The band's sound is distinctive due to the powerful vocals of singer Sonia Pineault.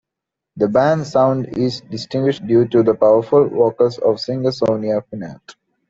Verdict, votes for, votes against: accepted, 2, 1